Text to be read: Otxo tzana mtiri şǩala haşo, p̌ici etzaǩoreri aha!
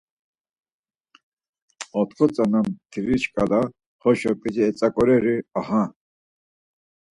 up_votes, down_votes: 4, 2